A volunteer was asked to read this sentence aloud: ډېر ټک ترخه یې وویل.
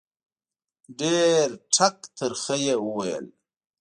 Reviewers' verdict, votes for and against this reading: accepted, 2, 0